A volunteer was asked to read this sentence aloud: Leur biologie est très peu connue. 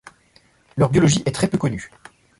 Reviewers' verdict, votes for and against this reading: accepted, 2, 0